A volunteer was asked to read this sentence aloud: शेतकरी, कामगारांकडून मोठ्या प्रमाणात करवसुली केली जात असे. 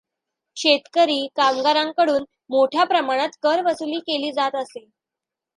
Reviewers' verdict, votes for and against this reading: accepted, 2, 1